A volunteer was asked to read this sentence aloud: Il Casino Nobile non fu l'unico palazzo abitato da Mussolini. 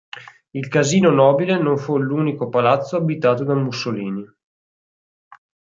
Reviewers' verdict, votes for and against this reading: accepted, 4, 0